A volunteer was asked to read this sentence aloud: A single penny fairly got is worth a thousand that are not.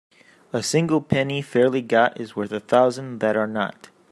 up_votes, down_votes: 2, 0